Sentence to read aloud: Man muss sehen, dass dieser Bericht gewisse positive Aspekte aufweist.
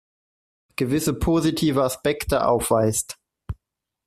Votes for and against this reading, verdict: 0, 2, rejected